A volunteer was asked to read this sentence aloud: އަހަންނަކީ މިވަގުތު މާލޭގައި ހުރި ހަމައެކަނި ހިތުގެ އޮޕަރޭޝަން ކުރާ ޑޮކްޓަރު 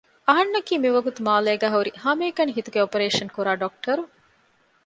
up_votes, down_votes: 2, 0